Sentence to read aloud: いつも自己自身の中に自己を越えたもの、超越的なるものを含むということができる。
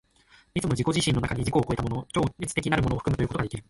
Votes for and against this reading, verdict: 0, 2, rejected